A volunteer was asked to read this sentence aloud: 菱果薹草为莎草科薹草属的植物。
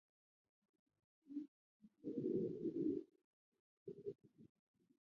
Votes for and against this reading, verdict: 0, 2, rejected